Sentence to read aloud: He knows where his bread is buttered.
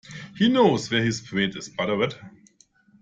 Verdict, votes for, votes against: rejected, 1, 2